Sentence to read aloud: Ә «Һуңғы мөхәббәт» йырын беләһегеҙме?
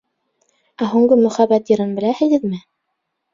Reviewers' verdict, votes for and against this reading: accepted, 2, 0